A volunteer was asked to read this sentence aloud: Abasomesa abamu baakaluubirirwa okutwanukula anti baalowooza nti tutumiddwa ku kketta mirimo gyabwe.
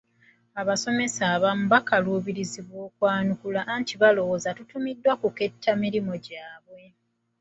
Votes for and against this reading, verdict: 1, 2, rejected